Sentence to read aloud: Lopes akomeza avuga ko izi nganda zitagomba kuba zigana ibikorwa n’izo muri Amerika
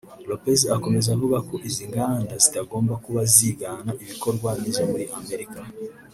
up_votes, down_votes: 1, 2